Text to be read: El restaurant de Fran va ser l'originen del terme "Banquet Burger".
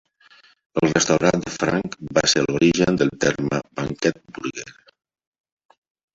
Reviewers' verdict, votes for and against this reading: rejected, 0, 2